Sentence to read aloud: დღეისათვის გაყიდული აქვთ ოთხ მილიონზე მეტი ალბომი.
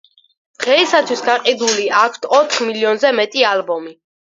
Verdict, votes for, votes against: accepted, 4, 0